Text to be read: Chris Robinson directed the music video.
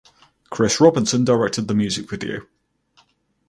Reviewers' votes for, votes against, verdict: 4, 0, accepted